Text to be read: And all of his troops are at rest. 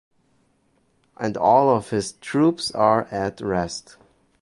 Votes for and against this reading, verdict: 2, 0, accepted